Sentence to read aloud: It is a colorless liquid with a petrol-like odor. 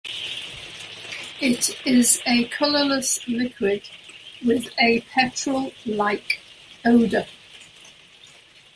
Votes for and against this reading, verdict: 1, 2, rejected